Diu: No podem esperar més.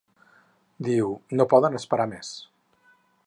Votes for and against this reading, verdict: 2, 4, rejected